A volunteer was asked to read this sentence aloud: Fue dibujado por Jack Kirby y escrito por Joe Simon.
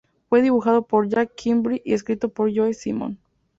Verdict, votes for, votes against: accepted, 2, 0